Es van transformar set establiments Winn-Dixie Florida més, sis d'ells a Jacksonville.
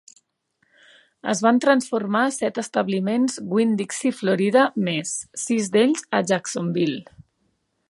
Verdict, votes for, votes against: accepted, 2, 0